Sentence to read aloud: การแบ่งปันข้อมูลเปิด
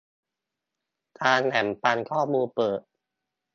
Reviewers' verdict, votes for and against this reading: accepted, 2, 0